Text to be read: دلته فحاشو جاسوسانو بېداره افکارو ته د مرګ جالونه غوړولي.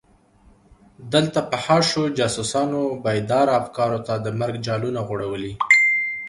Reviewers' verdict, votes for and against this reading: accepted, 2, 0